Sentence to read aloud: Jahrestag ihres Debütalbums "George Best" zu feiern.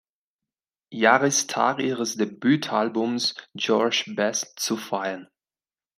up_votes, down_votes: 1, 2